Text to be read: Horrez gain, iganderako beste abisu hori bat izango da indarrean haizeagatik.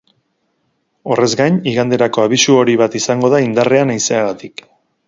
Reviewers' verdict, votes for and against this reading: rejected, 2, 2